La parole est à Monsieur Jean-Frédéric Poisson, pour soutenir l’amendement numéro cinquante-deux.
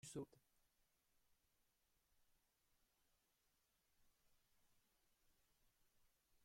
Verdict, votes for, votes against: rejected, 0, 2